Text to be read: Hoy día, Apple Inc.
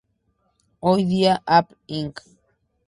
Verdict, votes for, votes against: rejected, 0, 4